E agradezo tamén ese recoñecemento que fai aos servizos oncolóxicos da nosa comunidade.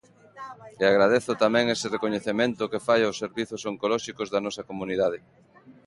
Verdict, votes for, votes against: rejected, 0, 2